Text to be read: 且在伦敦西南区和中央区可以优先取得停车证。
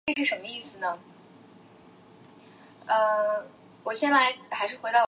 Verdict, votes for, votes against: rejected, 1, 3